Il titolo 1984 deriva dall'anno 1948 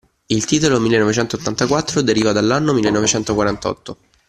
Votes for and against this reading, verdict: 0, 2, rejected